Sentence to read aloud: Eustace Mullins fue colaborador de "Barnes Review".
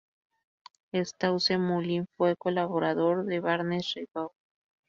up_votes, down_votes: 2, 2